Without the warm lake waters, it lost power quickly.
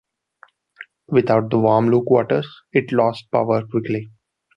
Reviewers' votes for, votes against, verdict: 0, 2, rejected